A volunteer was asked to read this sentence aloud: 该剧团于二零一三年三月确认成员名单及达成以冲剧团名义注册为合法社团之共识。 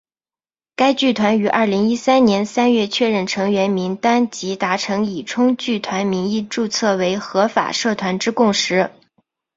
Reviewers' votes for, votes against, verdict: 6, 0, accepted